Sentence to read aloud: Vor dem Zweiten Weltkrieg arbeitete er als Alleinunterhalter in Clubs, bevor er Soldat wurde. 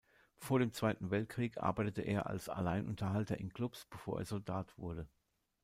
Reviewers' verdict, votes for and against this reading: accepted, 2, 0